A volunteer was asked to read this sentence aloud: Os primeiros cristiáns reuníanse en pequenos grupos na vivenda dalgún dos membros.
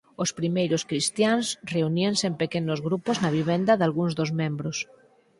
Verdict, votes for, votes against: rejected, 0, 4